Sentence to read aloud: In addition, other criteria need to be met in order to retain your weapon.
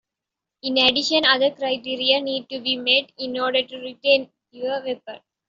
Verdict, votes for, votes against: accepted, 2, 0